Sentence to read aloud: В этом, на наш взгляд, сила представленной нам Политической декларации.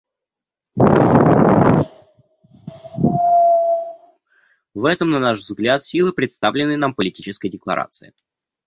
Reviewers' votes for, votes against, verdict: 0, 2, rejected